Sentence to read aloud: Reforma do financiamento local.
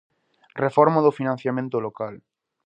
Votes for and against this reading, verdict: 2, 0, accepted